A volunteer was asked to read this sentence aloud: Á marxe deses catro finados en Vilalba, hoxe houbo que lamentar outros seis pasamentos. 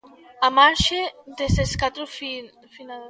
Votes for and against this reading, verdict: 0, 2, rejected